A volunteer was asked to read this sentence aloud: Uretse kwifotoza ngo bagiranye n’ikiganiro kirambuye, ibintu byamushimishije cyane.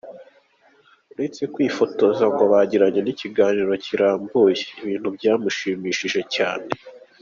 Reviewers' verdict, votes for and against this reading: accepted, 2, 0